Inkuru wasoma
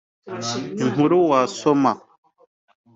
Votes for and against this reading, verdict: 2, 0, accepted